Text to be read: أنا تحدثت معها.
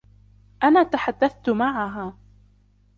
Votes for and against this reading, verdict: 2, 1, accepted